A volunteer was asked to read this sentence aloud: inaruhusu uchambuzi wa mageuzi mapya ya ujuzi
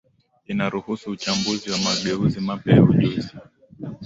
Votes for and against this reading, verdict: 2, 0, accepted